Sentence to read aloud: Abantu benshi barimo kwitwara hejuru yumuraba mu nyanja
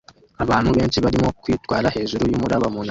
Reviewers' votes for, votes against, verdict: 1, 2, rejected